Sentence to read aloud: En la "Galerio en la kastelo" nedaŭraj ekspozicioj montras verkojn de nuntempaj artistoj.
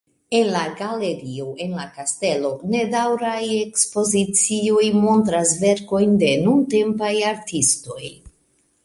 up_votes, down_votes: 2, 0